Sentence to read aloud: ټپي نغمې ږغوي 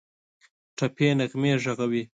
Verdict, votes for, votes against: accepted, 2, 1